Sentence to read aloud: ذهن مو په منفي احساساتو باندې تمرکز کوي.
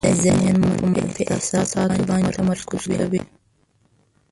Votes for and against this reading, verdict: 0, 2, rejected